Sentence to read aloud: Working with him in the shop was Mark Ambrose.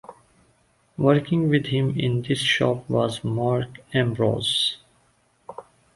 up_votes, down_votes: 1, 2